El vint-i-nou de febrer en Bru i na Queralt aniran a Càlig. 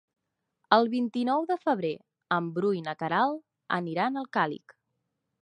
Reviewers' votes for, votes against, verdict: 2, 3, rejected